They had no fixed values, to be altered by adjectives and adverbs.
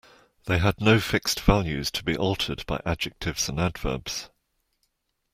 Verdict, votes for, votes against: accepted, 2, 0